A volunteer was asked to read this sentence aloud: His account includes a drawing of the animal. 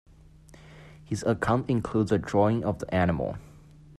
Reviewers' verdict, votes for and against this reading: accepted, 2, 0